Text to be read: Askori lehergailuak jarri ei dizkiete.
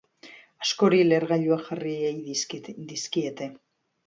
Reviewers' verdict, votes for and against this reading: rejected, 0, 2